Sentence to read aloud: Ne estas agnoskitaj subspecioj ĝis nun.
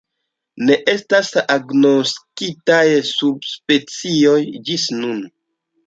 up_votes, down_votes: 2, 0